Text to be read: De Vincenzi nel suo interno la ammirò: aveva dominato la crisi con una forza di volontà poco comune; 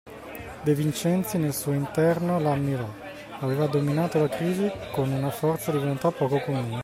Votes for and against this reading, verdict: 2, 0, accepted